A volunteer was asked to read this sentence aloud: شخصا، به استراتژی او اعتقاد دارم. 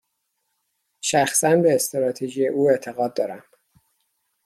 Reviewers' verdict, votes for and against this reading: accepted, 2, 0